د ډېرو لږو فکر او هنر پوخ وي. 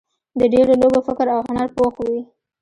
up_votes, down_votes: 1, 2